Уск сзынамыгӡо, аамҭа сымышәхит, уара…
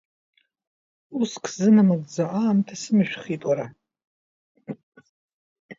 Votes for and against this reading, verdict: 0, 2, rejected